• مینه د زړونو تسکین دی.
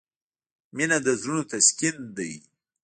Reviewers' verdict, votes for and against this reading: rejected, 1, 2